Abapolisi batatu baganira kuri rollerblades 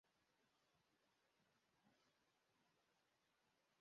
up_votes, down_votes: 0, 2